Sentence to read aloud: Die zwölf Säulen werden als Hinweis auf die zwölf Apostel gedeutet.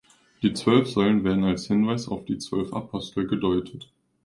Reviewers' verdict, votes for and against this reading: accepted, 2, 0